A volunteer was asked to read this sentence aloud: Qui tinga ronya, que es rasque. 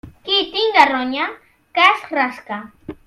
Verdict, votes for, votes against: rejected, 2, 3